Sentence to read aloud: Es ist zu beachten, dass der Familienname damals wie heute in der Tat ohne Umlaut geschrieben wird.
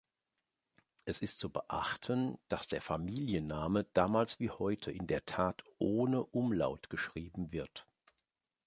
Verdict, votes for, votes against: accepted, 2, 0